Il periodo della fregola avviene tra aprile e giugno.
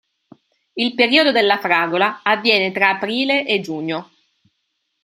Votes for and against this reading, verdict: 1, 2, rejected